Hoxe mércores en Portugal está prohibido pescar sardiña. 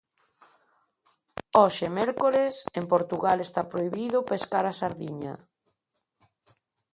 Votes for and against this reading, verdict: 0, 2, rejected